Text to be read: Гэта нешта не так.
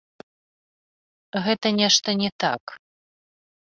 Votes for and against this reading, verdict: 2, 0, accepted